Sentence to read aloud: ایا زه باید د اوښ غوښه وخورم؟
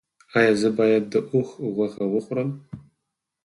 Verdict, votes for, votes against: accepted, 6, 4